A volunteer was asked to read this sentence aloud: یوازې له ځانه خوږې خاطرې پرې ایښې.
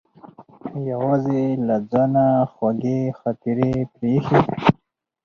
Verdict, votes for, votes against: rejected, 0, 4